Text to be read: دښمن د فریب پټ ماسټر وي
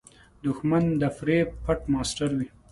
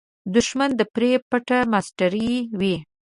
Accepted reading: first